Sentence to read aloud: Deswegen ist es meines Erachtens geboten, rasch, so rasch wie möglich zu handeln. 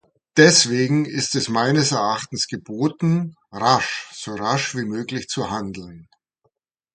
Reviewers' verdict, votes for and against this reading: accepted, 2, 0